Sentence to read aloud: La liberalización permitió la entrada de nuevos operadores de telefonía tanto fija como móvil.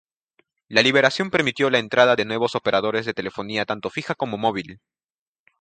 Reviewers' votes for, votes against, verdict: 0, 2, rejected